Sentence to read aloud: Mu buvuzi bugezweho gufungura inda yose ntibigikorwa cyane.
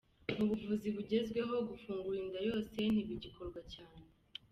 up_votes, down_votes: 2, 0